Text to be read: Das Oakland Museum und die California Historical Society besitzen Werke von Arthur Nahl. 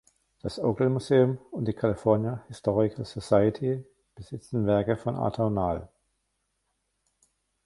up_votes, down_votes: 1, 2